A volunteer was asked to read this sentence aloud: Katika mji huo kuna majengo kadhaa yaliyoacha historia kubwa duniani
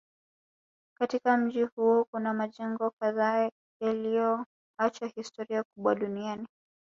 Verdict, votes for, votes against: accepted, 2, 1